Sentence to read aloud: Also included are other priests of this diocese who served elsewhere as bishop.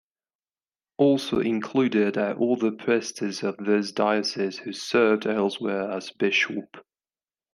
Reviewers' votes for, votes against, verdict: 0, 2, rejected